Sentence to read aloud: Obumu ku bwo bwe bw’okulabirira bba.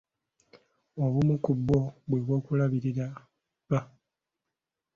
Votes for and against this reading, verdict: 2, 0, accepted